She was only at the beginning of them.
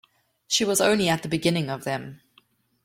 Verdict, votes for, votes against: accepted, 2, 0